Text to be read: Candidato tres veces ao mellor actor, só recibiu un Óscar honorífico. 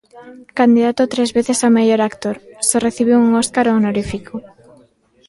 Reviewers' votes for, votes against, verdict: 1, 2, rejected